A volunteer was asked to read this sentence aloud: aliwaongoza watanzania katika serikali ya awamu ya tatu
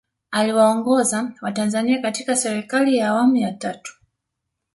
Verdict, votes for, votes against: accepted, 4, 2